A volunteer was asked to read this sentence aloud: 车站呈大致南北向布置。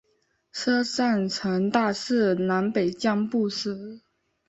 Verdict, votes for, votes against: accepted, 2, 1